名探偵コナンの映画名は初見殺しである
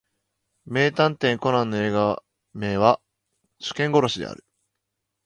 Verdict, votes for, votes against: accepted, 2, 0